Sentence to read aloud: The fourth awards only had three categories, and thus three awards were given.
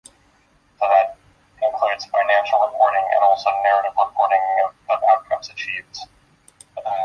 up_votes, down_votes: 0, 2